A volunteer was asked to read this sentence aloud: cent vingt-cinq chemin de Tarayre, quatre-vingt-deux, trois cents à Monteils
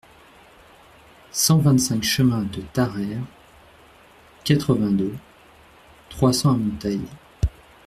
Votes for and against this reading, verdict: 2, 0, accepted